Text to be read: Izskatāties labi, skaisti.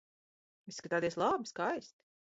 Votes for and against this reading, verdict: 2, 1, accepted